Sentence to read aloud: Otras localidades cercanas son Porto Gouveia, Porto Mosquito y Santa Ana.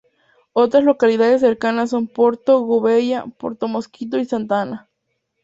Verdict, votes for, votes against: rejected, 2, 2